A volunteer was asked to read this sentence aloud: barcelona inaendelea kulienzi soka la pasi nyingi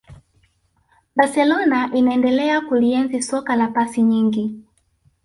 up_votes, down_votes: 1, 2